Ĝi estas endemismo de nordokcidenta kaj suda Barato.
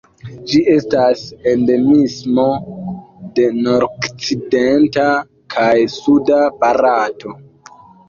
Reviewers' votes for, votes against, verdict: 1, 2, rejected